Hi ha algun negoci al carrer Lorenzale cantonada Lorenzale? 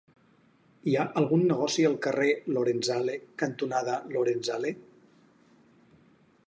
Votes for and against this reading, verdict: 4, 0, accepted